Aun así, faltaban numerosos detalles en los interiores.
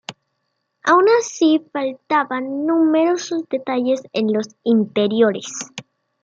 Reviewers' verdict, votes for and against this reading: accepted, 2, 0